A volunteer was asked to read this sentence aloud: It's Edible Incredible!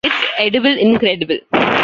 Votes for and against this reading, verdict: 2, 1, accepted